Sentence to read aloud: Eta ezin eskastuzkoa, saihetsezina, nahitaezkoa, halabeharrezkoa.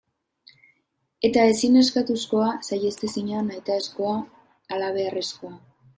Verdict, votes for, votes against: rejected, 1, 2